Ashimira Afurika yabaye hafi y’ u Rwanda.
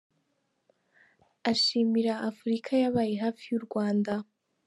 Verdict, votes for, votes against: accepted, 2, 1